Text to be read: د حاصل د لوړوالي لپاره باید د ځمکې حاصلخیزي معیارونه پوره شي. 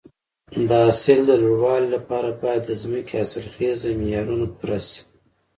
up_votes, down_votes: 2, 0